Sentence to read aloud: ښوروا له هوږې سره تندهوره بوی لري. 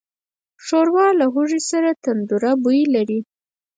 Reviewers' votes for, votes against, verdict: 0, 4, rejected